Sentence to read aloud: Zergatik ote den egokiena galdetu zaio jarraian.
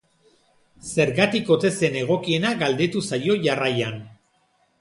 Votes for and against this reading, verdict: 1, 2, rejected